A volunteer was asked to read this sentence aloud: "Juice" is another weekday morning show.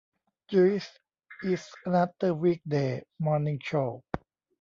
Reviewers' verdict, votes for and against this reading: rejected, 1, 2